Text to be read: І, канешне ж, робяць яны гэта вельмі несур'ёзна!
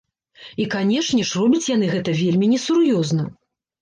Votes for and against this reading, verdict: 2, 0, accepted